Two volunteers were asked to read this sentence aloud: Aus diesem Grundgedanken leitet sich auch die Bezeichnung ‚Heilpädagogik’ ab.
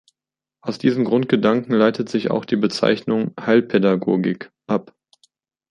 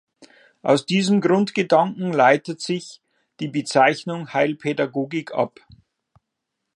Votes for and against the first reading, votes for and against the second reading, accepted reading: 2, 0, 0, 2, first